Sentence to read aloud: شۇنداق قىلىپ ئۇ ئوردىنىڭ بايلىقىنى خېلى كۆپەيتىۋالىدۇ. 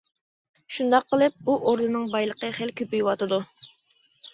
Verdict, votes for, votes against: rejected, 1, 2